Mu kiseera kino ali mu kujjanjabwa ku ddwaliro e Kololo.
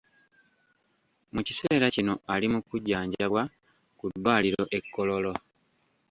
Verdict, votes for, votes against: rejected, 1, 2